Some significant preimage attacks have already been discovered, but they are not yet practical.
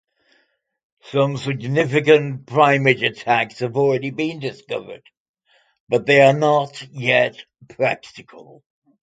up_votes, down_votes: 0, 2